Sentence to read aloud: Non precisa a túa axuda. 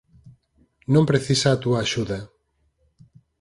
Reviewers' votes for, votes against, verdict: 4, 0, accepted